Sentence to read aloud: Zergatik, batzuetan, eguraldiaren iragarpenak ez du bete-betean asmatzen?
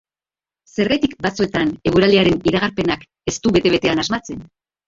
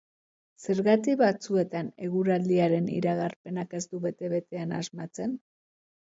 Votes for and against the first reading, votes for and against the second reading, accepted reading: 0, 2, 2, 0, second